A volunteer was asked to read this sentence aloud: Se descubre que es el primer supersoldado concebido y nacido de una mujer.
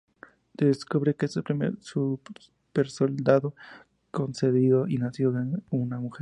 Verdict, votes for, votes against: rejected, 0, 2